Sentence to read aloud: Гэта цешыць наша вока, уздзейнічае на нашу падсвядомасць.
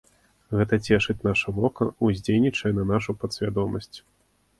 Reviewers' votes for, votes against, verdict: 2, 0, accepted